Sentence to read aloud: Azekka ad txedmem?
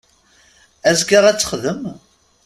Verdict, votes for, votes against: rejected, 0, 2